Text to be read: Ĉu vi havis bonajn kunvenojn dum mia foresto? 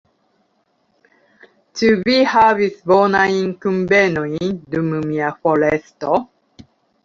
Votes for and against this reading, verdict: 2, 0, accepted